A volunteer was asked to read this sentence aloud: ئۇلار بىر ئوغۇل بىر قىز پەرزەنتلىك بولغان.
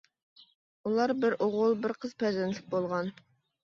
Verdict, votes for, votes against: accepted, 2, 0